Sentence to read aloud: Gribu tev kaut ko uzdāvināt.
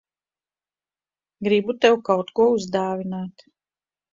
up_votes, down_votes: 2, 0